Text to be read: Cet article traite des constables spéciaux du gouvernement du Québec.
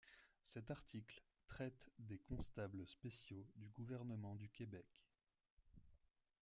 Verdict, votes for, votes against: rejected, 1, 2